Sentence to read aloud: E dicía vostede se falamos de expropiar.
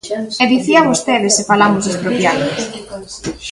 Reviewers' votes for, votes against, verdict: 2, 3, rejected